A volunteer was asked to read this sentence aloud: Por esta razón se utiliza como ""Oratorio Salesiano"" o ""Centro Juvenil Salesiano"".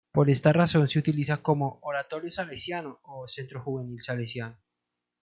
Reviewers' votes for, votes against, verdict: 2, 0, accepted